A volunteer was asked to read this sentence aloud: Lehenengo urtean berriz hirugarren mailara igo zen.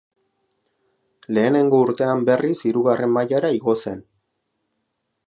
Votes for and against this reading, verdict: 2, 0, accepted